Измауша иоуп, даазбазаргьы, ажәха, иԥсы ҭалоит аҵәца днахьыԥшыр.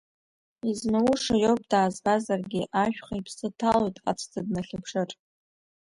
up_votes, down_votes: 1, 2